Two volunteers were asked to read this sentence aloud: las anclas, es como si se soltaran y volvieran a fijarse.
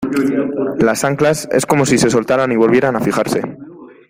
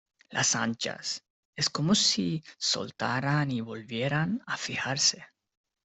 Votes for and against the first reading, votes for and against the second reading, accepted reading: 2, 0, 1, 2, first